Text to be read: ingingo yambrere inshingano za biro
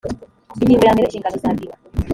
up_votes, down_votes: 0, 3